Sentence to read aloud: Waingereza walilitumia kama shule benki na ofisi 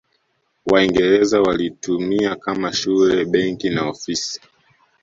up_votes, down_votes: 0, 2